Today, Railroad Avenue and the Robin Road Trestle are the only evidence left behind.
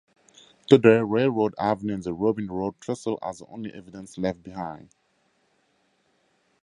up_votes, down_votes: 6, 8